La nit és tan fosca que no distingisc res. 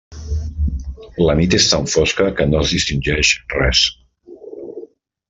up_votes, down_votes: 1, 2